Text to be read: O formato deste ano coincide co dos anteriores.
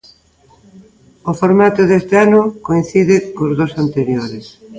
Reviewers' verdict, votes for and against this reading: accepted, 2, 1